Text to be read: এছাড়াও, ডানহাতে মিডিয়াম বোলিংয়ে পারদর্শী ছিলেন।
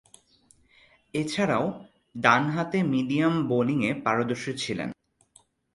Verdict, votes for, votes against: accepted, 3, 0